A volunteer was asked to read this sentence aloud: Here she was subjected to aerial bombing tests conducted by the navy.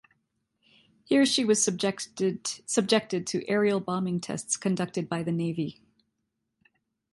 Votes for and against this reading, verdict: 1, 2, rejected